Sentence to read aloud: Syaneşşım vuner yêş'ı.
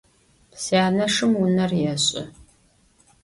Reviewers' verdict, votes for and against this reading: accepted, 2, 0